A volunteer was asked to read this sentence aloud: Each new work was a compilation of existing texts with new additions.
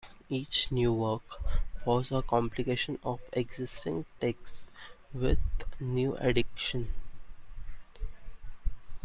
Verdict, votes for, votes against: rejected, 0, 2